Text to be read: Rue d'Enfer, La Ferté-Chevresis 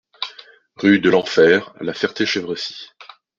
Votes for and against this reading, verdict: 1, 2, rejected